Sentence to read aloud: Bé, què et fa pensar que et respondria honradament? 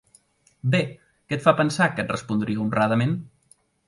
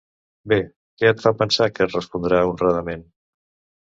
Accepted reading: first